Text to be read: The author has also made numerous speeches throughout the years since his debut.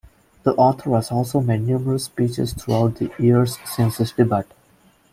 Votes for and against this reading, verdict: 2, 3, rejected